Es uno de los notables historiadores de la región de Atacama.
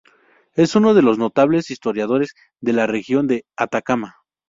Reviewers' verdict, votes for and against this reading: accepted, 4, 0